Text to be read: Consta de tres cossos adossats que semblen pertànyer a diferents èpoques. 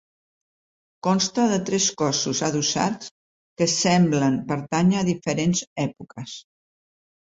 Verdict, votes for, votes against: accepted, 2, 0